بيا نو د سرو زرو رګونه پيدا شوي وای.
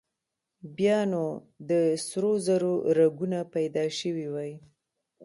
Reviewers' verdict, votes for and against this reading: accepted, 2, 0